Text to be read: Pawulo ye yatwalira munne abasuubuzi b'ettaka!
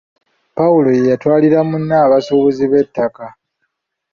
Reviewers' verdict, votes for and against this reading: rejected, 0, 2